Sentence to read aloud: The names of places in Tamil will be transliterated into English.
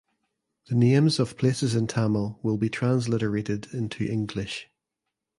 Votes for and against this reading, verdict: 2, 1, accepted